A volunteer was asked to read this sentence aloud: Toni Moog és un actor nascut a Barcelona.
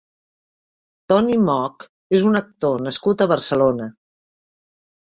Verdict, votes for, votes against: accepted, 2, 0